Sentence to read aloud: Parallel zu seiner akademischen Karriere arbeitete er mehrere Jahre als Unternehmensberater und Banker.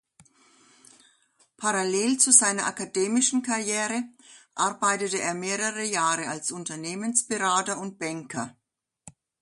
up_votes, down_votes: 2, 0